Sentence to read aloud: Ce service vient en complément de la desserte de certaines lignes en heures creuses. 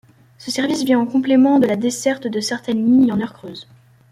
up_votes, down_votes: 1, 2